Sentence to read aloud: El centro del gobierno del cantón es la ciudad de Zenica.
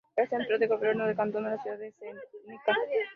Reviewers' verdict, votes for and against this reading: rejected, 0, 2